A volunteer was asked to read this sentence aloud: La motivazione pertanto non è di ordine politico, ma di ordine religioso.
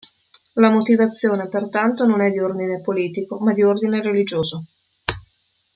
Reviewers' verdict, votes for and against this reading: accepted, 2, 0